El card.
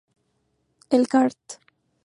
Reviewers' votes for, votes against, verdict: 2, 0, accepted